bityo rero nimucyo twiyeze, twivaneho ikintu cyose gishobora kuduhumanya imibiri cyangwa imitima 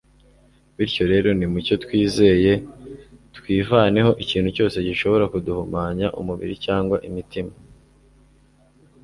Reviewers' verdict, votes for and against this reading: rejected, 0, 2